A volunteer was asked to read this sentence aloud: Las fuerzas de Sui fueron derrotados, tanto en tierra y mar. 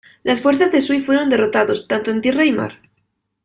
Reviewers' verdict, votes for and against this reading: accepted, 2, 0